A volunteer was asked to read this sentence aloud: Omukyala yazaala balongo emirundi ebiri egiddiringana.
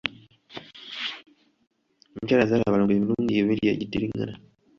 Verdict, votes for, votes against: accepted, 2, 0